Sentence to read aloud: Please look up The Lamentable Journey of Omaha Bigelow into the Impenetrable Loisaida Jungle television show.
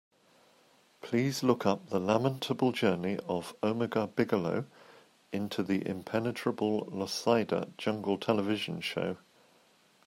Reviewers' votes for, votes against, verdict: 2, 0, accepted